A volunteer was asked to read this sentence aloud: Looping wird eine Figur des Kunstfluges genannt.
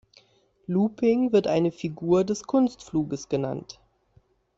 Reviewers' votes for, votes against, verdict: 2, 0, accepted